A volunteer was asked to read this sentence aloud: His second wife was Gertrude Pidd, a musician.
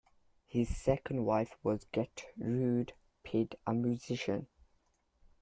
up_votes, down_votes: 1, 2